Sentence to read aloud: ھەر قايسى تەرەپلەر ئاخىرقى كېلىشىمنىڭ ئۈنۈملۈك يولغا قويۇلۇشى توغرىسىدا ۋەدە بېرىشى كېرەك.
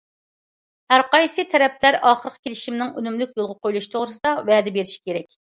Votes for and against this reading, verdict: 2, 0, accepted